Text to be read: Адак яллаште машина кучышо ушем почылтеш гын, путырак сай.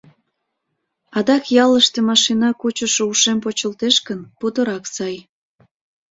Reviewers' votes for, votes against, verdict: 0, 2, rejected